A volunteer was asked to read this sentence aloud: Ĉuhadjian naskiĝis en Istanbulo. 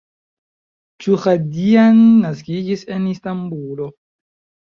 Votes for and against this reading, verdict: 0, 2, rejected